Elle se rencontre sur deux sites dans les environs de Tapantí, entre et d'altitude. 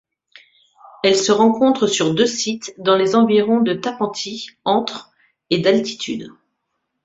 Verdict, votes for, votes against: accepted, 2, 0